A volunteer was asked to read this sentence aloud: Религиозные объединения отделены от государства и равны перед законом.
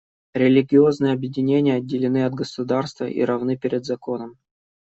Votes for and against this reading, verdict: 2, 0, accepted